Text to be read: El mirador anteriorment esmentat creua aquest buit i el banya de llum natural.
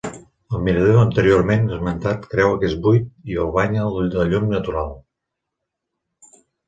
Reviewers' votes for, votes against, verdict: 1, 2, rejected